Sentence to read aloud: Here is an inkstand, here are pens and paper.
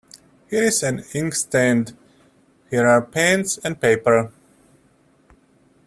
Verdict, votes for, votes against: accepted, 2, 0